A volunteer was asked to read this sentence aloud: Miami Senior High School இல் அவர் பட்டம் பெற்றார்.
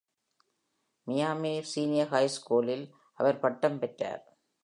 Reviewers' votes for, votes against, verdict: 2, 0, accepted